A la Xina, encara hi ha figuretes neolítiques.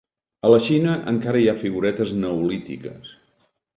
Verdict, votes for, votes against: accepted, 2, 0